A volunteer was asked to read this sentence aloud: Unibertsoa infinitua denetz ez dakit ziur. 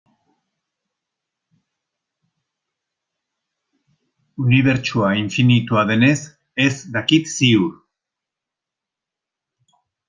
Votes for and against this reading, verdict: 0, 2, rejected